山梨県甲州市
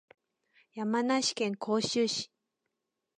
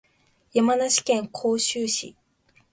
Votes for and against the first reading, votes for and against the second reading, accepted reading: 0, 2, 2, 0, second